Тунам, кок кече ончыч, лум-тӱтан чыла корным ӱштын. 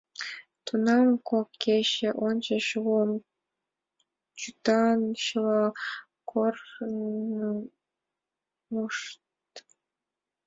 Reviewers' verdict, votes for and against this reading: rejected, 0, 2